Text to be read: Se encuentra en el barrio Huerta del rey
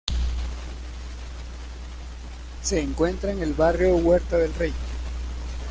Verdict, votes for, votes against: rejected, 1, 2